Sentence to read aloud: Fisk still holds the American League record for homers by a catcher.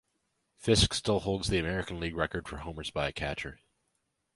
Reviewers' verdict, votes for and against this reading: accepted, 2, 0